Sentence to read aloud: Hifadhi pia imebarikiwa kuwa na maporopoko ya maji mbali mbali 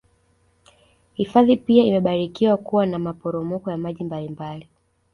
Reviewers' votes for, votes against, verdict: 2, 0, accepted